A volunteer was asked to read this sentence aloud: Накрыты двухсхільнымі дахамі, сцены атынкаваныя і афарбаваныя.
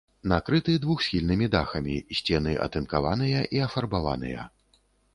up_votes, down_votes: 2, 0